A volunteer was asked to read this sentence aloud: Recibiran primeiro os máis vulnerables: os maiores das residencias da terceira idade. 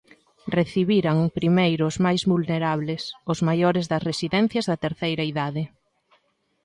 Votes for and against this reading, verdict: 2, 1, accepted